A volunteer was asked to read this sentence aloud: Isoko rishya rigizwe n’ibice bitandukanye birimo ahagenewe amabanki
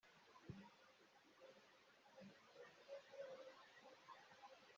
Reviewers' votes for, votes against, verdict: 0, 2, rejected